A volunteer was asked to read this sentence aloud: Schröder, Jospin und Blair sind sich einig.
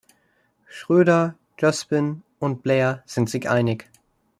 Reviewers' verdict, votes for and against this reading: accepted, 2, 0